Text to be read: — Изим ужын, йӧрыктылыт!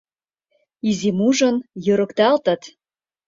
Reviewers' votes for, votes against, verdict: 0, 2, rejected